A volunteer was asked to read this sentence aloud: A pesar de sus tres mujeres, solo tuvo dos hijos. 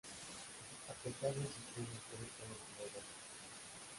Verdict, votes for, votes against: accepted, 2, 0